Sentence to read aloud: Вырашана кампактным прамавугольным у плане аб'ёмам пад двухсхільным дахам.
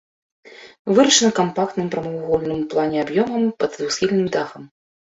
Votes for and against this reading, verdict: 2, 0, accepted